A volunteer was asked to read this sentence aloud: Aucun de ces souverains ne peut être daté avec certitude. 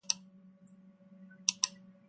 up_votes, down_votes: 0, 2